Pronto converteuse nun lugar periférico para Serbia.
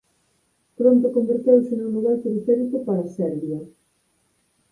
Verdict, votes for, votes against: accepted, 4, 0